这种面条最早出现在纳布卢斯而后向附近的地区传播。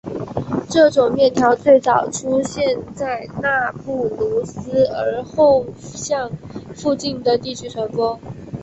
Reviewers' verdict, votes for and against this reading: accepted, 7, 4